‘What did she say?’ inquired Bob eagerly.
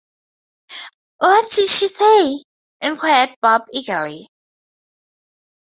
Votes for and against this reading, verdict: 2, 0, accepted